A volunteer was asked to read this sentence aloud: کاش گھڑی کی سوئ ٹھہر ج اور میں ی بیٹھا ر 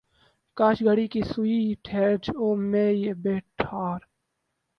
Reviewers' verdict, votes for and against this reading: rejected, 0, 2